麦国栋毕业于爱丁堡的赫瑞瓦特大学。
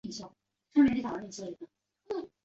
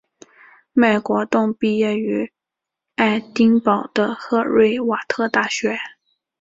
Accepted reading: second